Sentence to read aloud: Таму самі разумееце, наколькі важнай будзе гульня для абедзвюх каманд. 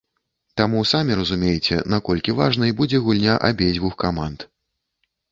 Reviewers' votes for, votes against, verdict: 0, 3, rejected